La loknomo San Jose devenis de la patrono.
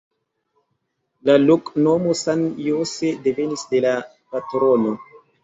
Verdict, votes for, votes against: accepted, 2, 0